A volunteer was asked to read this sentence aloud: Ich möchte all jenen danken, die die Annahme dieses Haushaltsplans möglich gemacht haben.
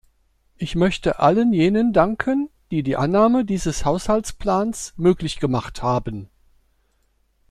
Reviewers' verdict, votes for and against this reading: rejected, 0, 2